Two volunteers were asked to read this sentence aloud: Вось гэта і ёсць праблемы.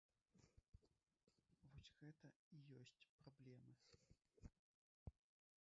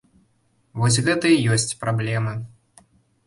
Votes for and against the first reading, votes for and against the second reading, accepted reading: 1, 3, 2, 0, second